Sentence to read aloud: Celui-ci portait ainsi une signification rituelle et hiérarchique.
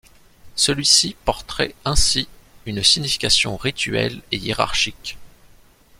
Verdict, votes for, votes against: rejected, 0, 2